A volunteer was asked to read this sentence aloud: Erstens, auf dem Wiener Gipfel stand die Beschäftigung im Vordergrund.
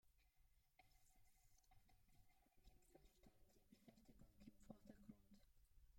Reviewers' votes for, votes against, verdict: 0, 2, rejected